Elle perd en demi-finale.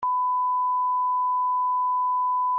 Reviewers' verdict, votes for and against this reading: rejected, 0, 2